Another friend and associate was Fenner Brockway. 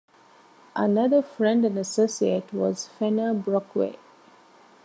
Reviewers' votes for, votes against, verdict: 2, 0, accepted